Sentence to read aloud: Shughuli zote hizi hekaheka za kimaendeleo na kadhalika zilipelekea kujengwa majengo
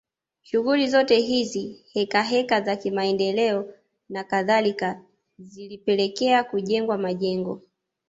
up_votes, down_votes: 2, 0